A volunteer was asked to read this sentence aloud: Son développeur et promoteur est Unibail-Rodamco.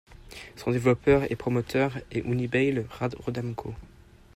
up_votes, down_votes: 0, 2